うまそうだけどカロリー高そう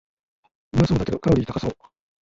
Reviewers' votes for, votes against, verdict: 0, 2, rejected